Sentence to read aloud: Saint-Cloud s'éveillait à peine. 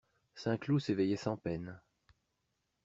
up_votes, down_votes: 0, 2